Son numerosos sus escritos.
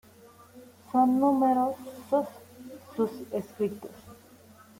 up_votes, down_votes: 0, 2